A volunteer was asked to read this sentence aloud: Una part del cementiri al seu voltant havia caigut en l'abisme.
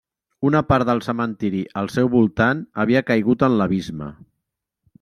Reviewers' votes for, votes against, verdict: 2, 0, accepted